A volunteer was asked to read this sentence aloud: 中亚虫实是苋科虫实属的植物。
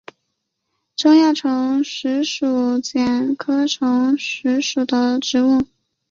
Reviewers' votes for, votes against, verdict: 3, 1, accepted